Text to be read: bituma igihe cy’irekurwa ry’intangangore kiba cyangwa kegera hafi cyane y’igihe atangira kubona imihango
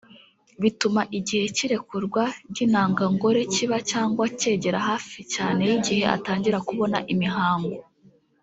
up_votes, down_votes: 0, 2